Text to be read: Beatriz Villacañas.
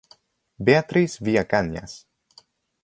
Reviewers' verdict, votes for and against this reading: rejected, 0, 2